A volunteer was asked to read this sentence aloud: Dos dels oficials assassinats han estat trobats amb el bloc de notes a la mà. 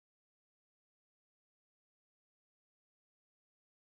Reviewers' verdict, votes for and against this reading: rejected, 0, 2